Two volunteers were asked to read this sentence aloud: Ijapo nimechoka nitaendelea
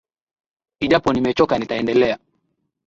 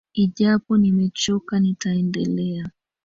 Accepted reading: first